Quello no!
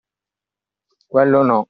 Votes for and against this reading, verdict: 2, 0, accepted